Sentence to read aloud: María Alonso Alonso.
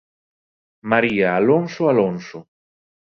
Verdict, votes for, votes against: accepted, 2, 0